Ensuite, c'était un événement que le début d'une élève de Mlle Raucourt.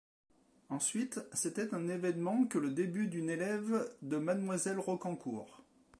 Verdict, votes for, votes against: rejected, 1, 2